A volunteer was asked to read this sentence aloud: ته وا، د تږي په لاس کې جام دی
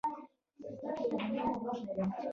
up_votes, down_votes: 0, 2